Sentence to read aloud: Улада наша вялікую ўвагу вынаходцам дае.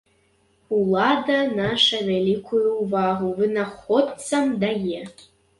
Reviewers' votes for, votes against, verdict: 2, 0, accepted